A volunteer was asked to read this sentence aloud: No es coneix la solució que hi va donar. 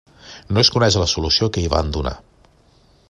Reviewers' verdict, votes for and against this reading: rejected, 0, 2